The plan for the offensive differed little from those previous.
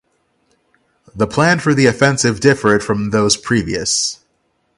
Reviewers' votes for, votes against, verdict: 0, 6, rejected